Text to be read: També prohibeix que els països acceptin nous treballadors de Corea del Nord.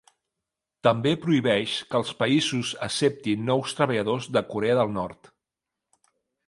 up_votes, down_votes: 2, 1